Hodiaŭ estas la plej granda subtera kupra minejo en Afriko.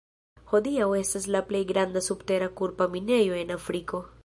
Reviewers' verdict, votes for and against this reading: rejected, 0, 2